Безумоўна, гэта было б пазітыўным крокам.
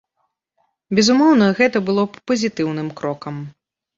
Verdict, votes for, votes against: accepted, 2, 0